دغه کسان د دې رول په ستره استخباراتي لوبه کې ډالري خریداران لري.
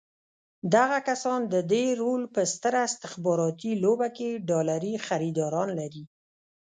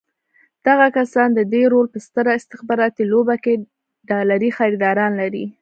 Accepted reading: second